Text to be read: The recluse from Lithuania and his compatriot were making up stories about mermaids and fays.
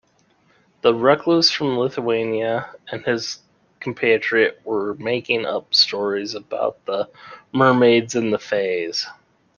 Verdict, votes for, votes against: rejected, 0, 2